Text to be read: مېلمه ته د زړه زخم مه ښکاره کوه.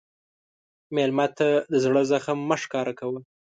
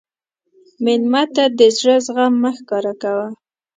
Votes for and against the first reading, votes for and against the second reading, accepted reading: 2, 0, 0, 2, first